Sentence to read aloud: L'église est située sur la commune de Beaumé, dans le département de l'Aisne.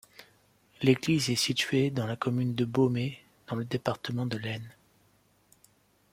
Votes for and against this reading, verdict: 1, 2, rejected